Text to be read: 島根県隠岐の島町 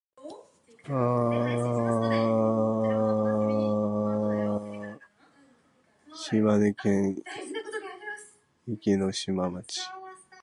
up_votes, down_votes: 1, 7